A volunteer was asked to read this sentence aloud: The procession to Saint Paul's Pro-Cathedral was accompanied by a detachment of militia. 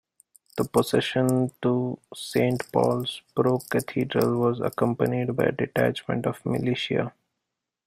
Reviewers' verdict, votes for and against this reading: accepted, 2, 1